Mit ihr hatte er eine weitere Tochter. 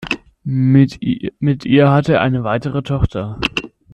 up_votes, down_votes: 0, 2